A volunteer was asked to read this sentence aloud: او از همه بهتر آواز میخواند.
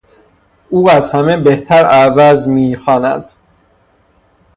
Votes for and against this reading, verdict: 0, 3, rejected